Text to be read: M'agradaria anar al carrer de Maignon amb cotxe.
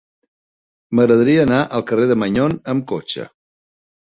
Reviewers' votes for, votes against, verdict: 2, 0, accepted